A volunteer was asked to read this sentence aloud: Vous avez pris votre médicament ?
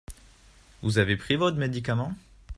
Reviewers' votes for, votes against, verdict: 2, 0, accepted